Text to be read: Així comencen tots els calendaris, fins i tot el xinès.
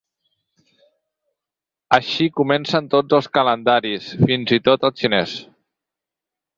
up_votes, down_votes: 4, 0